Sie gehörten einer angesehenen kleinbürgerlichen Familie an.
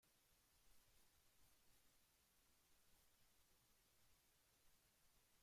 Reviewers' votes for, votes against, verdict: 0, 2, rejected